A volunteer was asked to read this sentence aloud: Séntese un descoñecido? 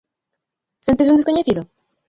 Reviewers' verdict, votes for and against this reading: rejected, 0, 3